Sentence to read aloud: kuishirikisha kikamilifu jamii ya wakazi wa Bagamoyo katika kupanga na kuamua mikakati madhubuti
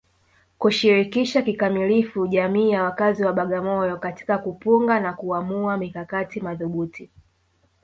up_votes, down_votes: 0, 2